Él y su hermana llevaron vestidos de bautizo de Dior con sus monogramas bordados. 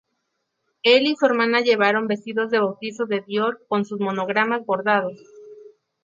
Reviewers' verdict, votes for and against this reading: accepted, 2, 0